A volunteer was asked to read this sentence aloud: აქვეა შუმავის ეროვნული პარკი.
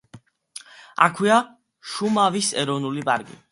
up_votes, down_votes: 2, 0